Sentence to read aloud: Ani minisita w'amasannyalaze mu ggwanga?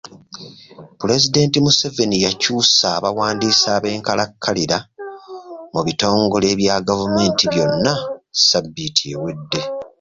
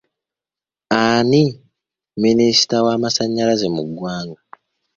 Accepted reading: second